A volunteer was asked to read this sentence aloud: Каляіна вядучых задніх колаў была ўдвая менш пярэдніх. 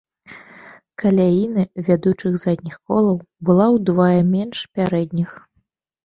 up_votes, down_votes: 0, 2